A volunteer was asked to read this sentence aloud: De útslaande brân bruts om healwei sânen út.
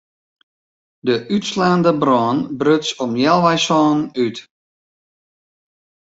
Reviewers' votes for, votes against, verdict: 2, 0, accepted